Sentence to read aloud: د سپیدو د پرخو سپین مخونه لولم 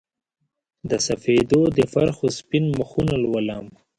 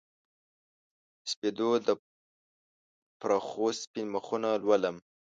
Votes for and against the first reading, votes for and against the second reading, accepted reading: 2, 0, 1, 2, first